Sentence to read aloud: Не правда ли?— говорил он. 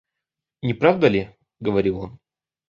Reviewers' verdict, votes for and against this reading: accepted, 2, 0